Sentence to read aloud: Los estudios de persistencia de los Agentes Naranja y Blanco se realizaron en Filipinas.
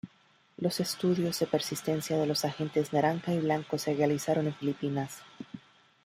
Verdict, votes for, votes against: rejected, 0, 2